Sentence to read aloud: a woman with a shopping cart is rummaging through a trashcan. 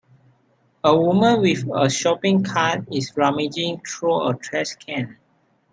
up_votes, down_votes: 2, 0